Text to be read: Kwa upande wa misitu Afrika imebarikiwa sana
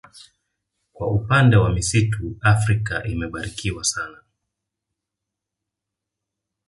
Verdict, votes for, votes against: rejected, 1, 2